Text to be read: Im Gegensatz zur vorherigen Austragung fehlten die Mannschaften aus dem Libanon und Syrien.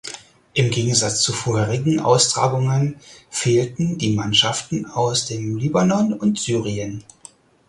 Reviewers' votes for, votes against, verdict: 2, 4, rejected